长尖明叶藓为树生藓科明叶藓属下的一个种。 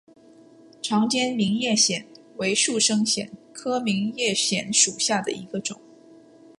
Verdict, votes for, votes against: accepted, 7, 0